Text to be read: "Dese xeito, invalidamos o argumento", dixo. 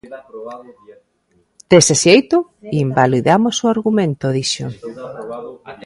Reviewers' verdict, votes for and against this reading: accepted, 2, 1